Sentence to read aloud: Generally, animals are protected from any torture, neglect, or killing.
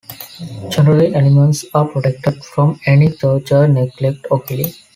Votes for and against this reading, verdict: 4, 1, accepted